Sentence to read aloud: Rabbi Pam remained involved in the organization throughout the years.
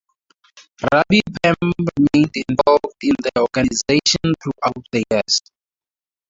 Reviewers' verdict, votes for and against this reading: rejected, 2, 2